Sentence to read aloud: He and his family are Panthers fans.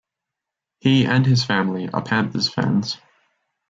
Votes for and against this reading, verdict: 2, 0, accepted